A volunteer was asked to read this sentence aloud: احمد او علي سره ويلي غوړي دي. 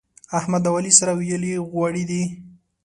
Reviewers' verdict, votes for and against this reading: accepted, 2, 0